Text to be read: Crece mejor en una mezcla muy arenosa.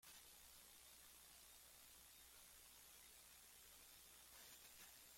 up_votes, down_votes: 0, 2